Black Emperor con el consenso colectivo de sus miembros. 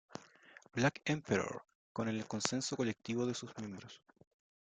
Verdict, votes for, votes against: accepted, 2, 0